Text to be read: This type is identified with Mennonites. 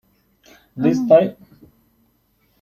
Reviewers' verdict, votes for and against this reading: rejected, 0, 2